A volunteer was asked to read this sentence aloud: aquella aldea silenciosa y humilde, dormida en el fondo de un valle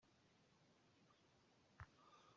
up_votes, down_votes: 0, 2